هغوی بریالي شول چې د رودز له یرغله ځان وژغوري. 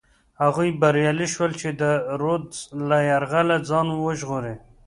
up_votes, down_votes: 2, 0